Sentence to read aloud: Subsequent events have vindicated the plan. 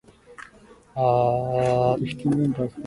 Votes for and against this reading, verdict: 0, 2, rejected